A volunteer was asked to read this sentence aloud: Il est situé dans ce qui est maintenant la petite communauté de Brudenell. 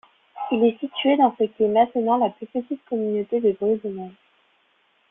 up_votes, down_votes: 1, 2